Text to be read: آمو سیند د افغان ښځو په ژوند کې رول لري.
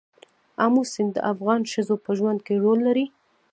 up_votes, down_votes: 0, 2